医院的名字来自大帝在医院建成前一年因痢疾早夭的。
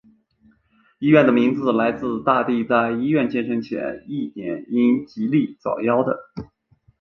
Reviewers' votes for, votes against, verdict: 2, 1, accepted